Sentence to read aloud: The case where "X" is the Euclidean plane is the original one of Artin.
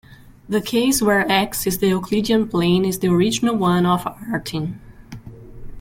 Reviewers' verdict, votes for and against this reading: accepted, 2, 0